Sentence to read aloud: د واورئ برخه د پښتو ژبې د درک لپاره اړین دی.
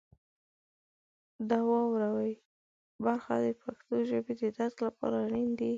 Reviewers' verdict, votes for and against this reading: accepted, 2, 1